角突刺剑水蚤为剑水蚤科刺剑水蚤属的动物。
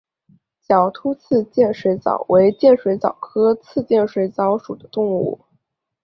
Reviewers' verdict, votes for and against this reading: rejected, 1, 2